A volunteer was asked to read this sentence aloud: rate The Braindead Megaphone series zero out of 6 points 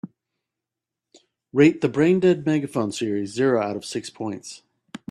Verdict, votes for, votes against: rejected, 0, 2